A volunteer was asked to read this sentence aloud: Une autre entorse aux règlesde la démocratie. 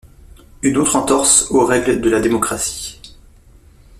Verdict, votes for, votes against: accepted, 2, 0